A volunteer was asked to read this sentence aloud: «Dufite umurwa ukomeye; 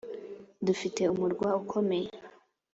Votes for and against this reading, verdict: 3, 0, accepted